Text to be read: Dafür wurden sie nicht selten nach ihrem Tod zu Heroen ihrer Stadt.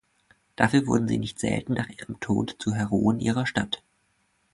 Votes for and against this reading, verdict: 2, 0, accepted